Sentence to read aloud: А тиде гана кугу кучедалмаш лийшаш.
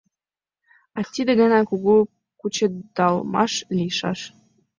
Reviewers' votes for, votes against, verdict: 2, 0, accepted